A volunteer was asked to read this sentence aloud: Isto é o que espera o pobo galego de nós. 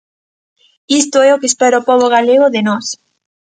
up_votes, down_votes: 2, 0